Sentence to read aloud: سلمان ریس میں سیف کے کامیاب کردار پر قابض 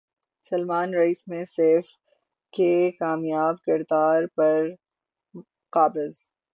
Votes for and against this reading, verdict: 12, 0, accepted